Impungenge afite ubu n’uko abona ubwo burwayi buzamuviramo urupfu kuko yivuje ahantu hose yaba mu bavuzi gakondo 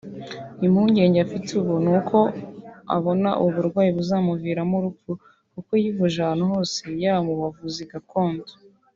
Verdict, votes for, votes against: rejected, 1, 2